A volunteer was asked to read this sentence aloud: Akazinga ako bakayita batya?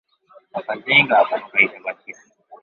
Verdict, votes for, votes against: accepted, 2, 1